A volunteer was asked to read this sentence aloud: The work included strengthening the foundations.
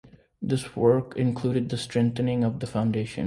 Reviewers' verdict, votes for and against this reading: rejected, 0, 2